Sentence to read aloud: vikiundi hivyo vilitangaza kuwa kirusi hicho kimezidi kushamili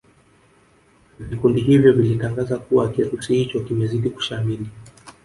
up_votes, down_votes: 4, 0